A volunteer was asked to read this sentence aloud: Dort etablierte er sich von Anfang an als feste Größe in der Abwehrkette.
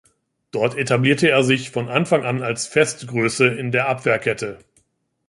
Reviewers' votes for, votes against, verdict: 1, 2, rejected